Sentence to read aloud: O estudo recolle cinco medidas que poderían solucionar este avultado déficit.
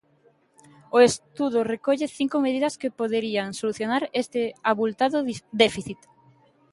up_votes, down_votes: 1, 2